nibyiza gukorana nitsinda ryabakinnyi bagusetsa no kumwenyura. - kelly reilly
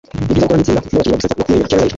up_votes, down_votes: 0, 2